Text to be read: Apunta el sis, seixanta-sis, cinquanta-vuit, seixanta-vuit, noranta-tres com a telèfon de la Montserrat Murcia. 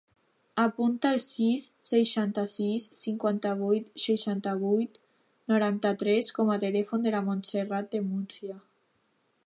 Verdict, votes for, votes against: rejected, 0, 3